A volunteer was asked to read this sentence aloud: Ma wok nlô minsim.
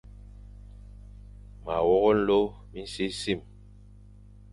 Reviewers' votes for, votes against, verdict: 2, 0, accepted